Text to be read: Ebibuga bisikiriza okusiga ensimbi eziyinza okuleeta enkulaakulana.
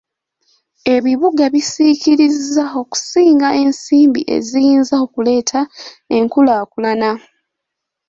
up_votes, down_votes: 0, 2